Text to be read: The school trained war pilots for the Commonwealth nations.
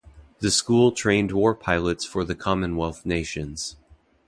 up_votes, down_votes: 2, 0